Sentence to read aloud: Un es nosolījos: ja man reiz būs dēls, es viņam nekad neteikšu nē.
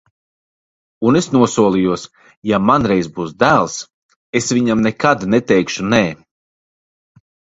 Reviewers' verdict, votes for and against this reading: accepted, 2, 0